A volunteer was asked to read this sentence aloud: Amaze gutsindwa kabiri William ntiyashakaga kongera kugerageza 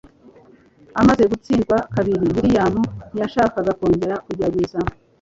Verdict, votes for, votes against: accepted, 2, 0